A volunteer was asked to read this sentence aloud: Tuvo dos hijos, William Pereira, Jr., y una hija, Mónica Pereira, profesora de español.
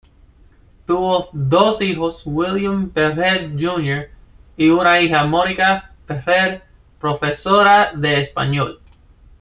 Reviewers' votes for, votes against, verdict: 2, 0, accepted